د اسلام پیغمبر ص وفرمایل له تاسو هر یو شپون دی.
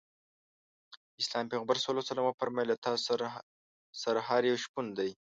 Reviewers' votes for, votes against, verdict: 1, 2, rejected